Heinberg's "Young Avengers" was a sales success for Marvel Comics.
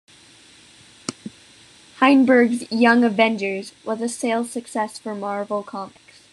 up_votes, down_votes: 2, 0